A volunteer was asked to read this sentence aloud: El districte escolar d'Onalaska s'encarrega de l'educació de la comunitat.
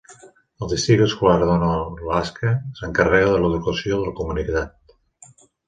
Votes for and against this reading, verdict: 0, 2, rejected